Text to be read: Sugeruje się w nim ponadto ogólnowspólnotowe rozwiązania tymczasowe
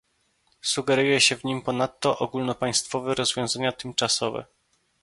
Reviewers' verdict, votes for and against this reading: rejected, 0, 2